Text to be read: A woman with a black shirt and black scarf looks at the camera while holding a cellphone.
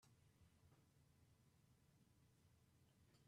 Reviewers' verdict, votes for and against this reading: rejected, 0, 4